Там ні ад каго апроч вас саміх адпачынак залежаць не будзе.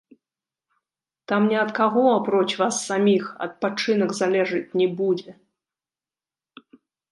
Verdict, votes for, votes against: rejected, 1, 2